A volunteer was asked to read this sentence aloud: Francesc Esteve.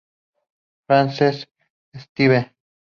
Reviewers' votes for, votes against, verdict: 2, 0, accepted